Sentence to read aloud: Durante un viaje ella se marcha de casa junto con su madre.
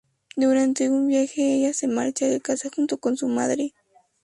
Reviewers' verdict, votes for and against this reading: accepted, 2, 0